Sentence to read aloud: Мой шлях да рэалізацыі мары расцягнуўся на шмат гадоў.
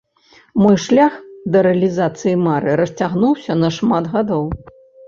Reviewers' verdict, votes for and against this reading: accepted, 2, 0